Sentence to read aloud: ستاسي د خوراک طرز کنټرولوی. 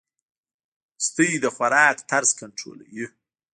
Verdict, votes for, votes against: rejected, 0, 2